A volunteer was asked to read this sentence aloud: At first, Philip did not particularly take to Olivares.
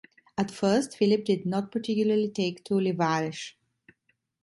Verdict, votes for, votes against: rejected, 1, 2